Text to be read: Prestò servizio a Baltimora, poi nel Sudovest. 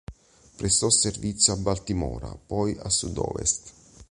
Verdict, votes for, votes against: rejected, 0, 2